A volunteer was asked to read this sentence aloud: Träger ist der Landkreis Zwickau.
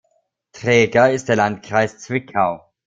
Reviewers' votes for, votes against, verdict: 2, 0, accepted